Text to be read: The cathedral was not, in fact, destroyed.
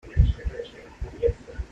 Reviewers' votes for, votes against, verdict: 0, 2, rejected